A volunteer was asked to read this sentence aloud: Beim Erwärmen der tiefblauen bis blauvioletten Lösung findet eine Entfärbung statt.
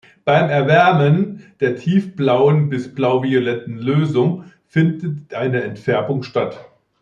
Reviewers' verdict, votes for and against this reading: rejected, 0, 2